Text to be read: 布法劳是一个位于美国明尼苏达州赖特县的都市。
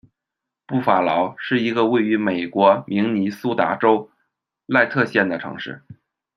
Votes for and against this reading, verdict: 3, 1, accepted